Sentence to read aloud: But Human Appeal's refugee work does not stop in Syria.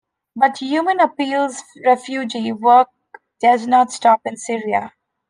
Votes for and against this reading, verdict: 2, 0, accepted